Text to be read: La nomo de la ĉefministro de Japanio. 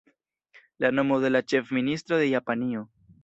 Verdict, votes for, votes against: accepted, 2, 0